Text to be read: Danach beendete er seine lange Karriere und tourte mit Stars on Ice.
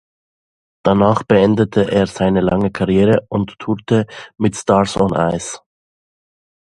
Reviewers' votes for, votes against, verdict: 2, 0, accepted